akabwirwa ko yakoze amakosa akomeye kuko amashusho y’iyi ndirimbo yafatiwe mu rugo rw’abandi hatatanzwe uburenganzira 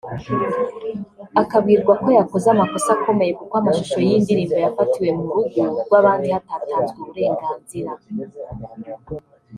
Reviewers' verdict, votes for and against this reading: accepted, 2, 0